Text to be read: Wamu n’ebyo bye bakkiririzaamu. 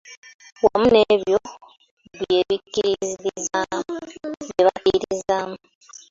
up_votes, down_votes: 0, 2